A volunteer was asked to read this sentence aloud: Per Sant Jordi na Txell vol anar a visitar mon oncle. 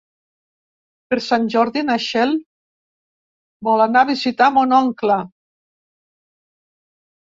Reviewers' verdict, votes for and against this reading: rejected, 1, 2